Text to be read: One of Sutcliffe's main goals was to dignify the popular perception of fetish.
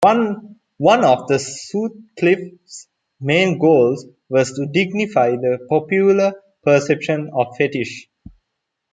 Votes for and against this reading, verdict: 0, 2, rejected